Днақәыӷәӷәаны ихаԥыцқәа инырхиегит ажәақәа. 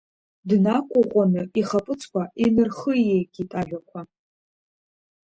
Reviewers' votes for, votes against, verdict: 2, 0, accepted